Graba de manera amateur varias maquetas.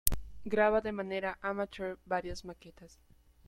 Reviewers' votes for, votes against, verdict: 0, 2, rejected